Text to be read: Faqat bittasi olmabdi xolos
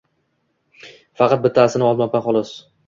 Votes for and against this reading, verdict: 2, 0, accepted